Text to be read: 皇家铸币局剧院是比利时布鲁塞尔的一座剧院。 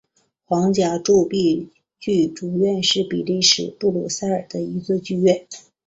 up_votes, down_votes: 5, 0